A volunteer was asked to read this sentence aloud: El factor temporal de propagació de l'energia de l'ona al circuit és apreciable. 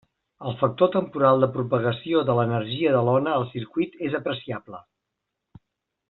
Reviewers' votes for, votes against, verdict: 3, 0, accepted